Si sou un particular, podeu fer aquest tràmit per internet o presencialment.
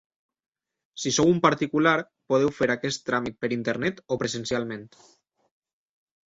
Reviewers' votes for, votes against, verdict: 2, 0, accepted